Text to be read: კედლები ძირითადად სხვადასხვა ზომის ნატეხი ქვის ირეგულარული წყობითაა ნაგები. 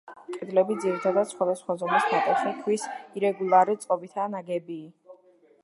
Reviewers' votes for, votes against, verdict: 1, 2, rejected